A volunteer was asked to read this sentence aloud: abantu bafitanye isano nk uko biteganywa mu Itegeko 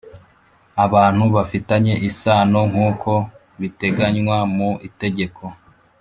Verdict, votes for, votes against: accepted, 2, 1